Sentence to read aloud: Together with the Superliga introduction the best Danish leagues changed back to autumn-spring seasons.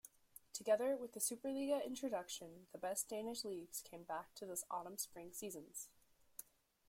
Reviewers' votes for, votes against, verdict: 0, 2, rejected